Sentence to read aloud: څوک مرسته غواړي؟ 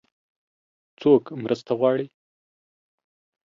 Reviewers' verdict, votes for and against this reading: accepted, 3, 0